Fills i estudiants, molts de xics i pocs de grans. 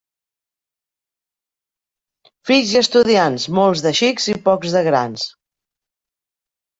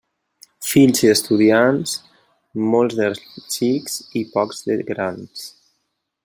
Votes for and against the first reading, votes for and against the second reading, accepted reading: 3, 0, 0, 2, first